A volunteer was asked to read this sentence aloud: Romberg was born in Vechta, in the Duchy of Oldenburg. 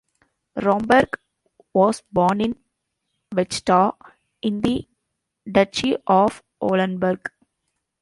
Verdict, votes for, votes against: accepted, 2, 1